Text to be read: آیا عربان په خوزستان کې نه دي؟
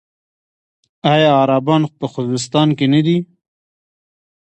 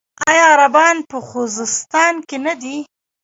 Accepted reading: first